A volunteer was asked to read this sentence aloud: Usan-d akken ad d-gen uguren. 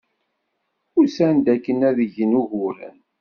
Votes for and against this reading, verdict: 2, 0, accepted